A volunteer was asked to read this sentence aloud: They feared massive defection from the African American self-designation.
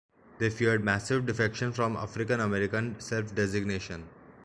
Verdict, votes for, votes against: accepted, 2, 1